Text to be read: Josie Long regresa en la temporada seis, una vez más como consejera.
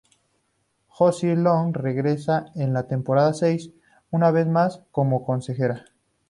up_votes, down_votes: 2, 0